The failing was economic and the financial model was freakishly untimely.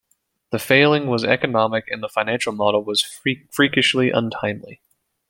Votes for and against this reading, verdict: 1, 2, rejected